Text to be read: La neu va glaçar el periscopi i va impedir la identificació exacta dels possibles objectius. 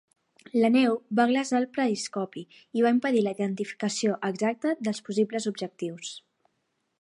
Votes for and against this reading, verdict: 1, 2, rejected